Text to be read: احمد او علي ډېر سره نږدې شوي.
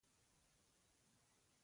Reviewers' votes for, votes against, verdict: 2, 1, accepted